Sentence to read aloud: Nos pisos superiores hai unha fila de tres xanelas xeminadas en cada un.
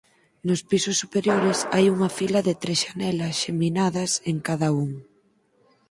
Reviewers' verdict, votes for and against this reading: accepted, 4, 2